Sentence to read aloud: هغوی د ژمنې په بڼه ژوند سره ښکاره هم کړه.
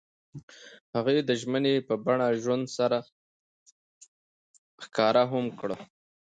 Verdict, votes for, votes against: accepted, 2, 0